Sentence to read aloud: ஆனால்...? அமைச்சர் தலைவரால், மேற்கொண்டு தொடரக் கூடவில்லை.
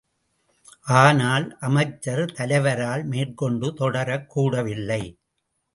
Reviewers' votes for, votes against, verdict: 1, 2, rejected